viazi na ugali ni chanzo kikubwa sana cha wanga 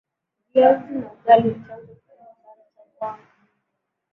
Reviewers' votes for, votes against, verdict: 0, 11, rejected